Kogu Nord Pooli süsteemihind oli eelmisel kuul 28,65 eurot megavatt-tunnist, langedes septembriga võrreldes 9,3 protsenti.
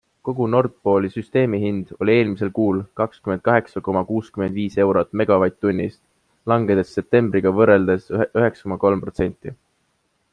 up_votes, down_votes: 0, 2